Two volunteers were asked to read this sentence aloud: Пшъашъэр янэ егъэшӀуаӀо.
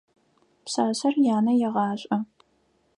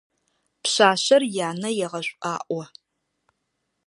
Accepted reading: second